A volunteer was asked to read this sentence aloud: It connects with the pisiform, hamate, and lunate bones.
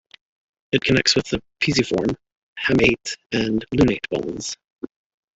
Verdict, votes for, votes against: accepted, 2, 1